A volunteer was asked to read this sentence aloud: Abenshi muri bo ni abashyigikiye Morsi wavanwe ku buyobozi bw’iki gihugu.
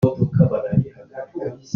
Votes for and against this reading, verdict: 0, 2, rejected